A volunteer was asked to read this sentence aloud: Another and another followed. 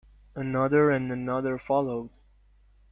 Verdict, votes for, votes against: accepted, 2, 0